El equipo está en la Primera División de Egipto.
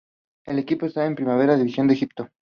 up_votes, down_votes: 0, 2